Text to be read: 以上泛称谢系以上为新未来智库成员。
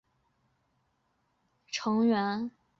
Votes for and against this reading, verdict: 0, 3, rejected